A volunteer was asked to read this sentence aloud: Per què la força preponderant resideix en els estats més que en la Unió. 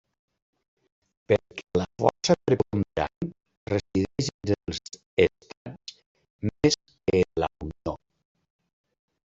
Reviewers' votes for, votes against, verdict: 0, 2, rejected